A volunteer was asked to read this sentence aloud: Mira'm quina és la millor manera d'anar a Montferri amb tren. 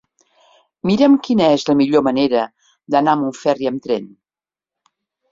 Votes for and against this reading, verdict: 3, 0, accepted